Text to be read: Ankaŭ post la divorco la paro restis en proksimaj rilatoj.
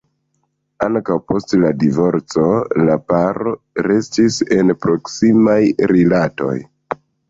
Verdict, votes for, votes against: accepted, 2, 0